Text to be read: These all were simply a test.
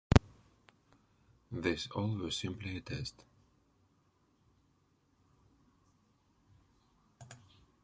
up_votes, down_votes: 1, 2